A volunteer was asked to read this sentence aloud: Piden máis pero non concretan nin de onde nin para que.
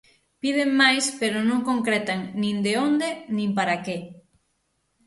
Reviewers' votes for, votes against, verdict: 6, 0, accepted